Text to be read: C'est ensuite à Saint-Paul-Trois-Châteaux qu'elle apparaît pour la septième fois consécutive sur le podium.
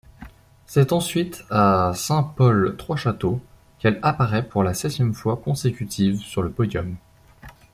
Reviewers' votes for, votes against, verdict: 2, 0, accepted